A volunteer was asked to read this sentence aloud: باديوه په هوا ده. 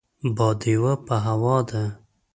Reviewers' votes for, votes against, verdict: 2, 0, accepted